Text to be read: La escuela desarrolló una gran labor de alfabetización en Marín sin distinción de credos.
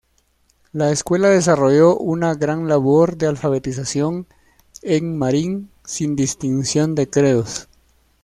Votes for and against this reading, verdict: 1, 2, rejected